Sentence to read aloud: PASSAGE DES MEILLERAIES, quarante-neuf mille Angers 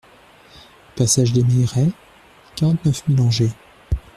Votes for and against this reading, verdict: 1, 2, rejected